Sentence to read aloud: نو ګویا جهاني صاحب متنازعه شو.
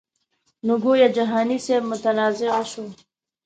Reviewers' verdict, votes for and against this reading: accepted, 2, 0